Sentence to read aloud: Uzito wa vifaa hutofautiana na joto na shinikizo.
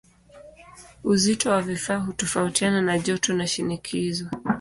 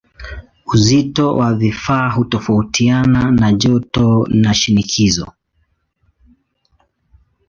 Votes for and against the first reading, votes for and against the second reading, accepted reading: 1, 2, 2, 0, second